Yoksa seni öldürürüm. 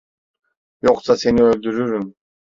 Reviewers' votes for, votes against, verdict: 2, 0, accepted